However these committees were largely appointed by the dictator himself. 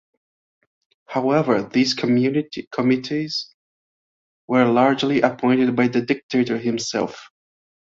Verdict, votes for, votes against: rejected, 1, 2